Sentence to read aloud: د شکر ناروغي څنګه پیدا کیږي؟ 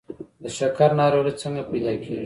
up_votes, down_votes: 1, 2